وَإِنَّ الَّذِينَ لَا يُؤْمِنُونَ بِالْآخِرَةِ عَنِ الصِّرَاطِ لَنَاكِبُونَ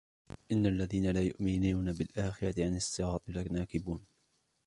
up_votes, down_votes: 0, 2